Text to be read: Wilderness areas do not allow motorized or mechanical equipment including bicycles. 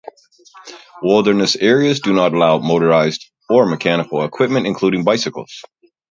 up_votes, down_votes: 2, 2